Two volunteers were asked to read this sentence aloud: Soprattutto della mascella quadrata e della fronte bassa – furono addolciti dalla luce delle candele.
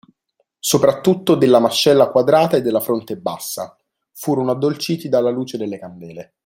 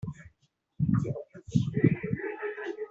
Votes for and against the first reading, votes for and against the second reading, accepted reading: 2, 0, 0, 2, first